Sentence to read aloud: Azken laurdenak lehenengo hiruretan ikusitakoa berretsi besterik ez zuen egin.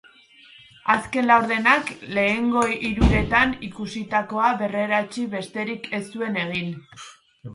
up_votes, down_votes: 0, 2